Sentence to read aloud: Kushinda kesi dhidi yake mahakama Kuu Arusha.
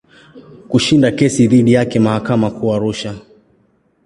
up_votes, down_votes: 2, 0